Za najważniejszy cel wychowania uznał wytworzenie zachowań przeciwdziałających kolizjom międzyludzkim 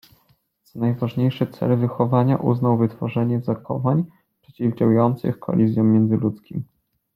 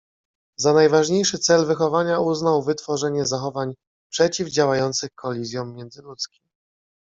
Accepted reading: second